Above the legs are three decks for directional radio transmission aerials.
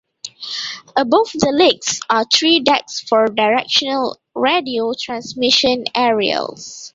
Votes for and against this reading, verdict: 2, 0, accepted